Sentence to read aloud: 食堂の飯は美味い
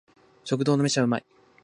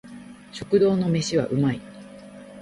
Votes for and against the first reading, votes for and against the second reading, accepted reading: 1, 2, 2, 0, second